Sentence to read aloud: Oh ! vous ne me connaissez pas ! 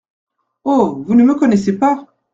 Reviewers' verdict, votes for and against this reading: accepted, 2, 0